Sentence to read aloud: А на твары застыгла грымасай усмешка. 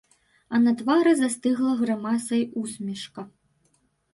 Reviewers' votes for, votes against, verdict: 0, 2, rejected